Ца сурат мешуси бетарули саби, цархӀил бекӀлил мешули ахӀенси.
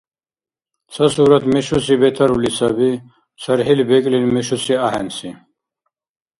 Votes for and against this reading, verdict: 0, 2, rejected